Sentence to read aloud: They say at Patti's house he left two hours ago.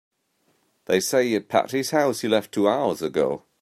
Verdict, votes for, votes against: accepted, 2, 0